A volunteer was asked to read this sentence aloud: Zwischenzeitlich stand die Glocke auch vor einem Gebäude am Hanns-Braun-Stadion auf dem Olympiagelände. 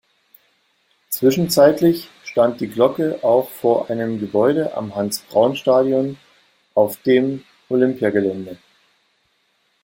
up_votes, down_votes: 2, 0